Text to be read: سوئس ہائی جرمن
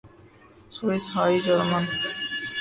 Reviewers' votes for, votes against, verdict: 1, 2, rejected